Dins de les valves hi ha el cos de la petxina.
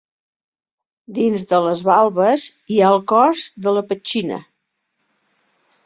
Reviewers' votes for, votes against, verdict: 2, 1, accepted